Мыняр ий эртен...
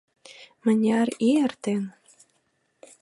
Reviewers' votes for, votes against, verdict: 2, 0, accepted